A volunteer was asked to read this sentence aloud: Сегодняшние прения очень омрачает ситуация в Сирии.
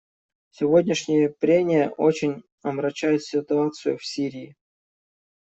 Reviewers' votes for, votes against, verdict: 1, 2, rejected